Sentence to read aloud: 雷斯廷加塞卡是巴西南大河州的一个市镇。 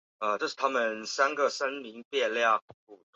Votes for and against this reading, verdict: 0, 3, rejected